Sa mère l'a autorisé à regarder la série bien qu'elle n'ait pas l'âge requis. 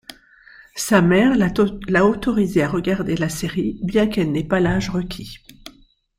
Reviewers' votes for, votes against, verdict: 1, 2, rejected